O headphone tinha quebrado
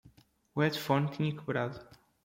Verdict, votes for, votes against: accepted, 2, 1